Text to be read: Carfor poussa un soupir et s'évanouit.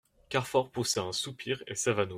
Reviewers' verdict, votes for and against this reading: rejected, 0, 2